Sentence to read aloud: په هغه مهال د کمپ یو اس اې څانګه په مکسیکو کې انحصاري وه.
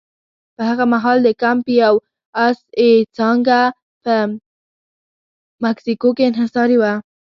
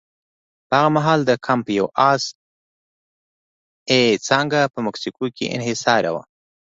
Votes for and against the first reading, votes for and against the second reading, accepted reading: 1, 2, 2, 0, second